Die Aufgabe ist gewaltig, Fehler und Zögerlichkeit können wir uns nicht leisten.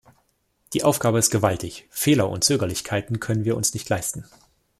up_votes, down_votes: 0, 2